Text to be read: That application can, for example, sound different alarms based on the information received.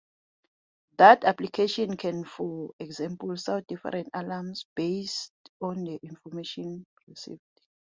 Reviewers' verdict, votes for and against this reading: accepted, 2, 0